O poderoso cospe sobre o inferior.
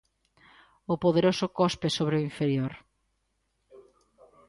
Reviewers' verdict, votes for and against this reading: accepted, 2, 0